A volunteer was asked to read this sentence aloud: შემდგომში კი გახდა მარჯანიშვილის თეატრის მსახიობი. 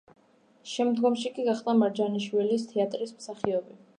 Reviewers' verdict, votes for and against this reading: rejected, 1, 2